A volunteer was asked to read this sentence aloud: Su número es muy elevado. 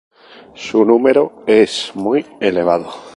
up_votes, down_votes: 2, 0